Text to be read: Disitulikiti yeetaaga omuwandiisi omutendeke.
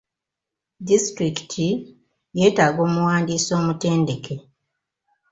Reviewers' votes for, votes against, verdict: 0, 2, rejected